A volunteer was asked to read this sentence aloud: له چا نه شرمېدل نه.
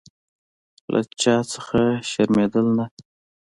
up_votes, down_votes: 0, 2